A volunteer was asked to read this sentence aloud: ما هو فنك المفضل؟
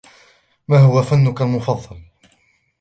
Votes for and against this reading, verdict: 1, 2, rejected